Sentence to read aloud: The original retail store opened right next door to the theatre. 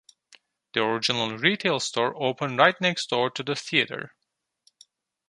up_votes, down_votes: 2, 0